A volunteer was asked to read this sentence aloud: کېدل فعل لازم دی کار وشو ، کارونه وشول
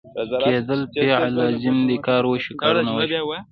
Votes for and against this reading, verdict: 2, 0, accepted